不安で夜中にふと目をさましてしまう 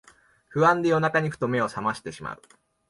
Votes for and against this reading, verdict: 2, 0, accepted